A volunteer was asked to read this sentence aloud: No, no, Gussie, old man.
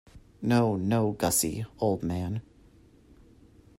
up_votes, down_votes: 2, 0